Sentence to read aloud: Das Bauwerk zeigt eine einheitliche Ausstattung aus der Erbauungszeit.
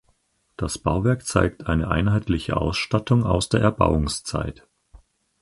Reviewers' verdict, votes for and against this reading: accepted, 4, 0